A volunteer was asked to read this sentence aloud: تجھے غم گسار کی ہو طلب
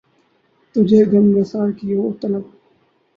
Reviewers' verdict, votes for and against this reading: rejected, 0, 2